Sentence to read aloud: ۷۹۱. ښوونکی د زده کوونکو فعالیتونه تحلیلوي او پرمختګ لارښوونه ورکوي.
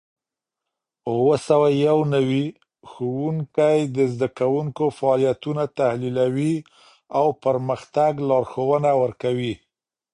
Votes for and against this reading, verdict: 0, 2, rejected